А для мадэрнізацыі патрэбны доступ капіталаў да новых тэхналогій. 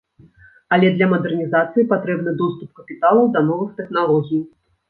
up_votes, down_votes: 1, 2